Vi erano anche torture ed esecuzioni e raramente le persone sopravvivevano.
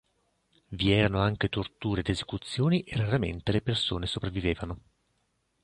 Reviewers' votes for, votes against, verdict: 3, 0, accepted